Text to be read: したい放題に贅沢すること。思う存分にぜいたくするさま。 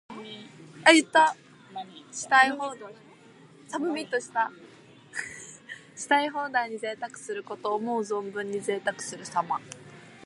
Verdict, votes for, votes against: rejected, 0, 2